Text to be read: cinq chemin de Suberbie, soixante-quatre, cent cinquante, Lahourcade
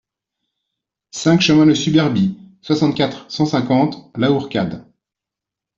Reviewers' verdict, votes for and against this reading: accepted, 2, 0